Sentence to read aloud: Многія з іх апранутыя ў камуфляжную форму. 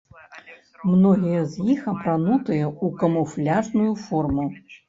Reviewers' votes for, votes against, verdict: 1, 3, rejected